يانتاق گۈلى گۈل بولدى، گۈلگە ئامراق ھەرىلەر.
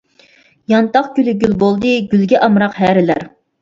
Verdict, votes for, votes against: accepted, 2, 0